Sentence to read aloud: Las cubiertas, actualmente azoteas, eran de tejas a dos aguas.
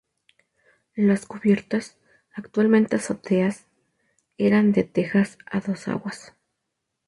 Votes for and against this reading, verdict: 0, 2, rejected